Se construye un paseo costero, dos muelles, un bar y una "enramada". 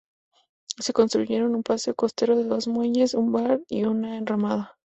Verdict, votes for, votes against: rejected, 0, 2